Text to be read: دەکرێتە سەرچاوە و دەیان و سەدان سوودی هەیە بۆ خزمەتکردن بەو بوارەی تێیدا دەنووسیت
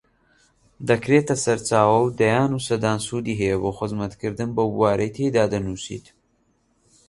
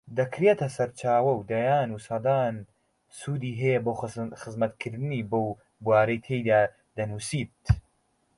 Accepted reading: first